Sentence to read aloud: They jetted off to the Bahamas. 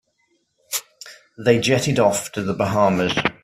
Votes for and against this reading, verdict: 1, 2, rejected